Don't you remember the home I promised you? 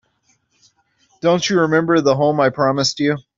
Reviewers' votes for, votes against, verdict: 2, 0, accepted